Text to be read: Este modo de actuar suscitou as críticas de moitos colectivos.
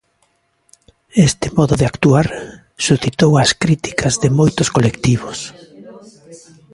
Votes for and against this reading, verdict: 0, 2, rejected